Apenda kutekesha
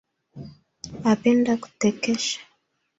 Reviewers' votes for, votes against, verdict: 3, 1, accepted